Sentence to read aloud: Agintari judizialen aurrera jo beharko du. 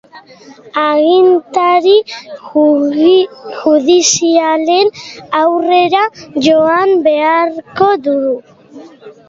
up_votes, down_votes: 0, 3